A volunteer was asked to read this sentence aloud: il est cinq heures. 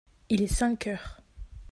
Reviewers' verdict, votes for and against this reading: accepted, 2, 0